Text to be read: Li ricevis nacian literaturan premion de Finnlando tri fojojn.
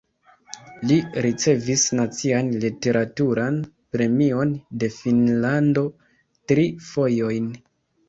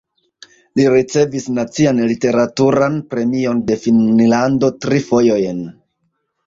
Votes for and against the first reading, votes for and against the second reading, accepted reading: 2, 0, 1, 2, first